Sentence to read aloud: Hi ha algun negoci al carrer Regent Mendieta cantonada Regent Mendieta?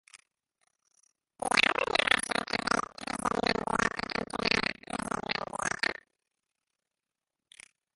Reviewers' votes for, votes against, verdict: 0, 2, rejected